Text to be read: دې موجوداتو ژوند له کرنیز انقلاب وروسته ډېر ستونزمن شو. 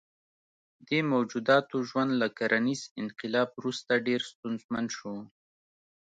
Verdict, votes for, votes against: accepted, 2, 0